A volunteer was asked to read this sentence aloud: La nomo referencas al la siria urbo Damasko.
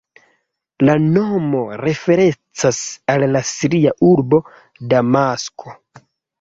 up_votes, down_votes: 1, 2